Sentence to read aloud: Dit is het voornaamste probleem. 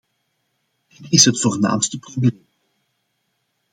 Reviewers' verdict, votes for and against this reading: rejected, 0, 2